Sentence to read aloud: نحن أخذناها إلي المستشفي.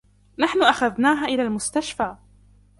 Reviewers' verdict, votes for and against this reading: accepted, 2, 1